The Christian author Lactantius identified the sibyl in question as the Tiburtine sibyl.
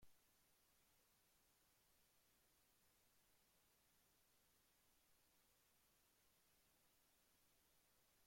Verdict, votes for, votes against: rejected, 0, 2